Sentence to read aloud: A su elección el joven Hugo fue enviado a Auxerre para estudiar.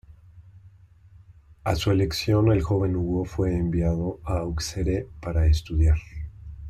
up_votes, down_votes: 2, 1